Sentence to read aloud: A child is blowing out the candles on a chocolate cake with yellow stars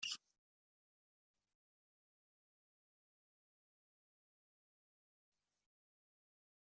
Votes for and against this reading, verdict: 0, 3, rejected